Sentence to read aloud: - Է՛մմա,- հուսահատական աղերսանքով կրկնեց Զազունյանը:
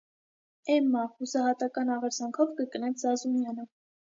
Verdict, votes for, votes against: accepted, 2, 0